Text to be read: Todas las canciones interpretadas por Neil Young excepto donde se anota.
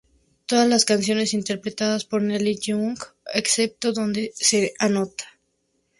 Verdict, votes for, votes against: rejected, 2, 2